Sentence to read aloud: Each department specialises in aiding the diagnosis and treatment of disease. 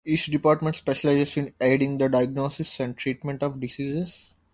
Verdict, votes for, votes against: rejected, 0, 2